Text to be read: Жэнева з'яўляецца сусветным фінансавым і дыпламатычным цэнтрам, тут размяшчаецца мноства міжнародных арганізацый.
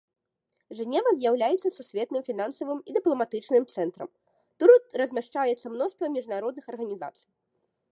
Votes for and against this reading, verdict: 2, 0, accepted